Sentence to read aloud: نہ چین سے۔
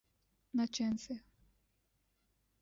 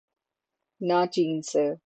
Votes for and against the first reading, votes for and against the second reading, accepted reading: 0, 2, 12, 0, second